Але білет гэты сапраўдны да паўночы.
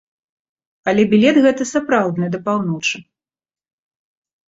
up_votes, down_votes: 2, 0